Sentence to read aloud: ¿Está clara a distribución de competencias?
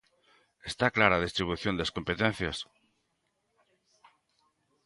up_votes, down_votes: 0, 2